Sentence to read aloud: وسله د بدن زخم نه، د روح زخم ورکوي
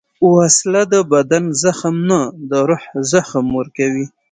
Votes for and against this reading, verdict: 1, 2, rejected